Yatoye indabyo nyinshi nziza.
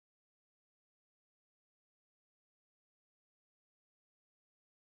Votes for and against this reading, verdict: 1, 2, rejected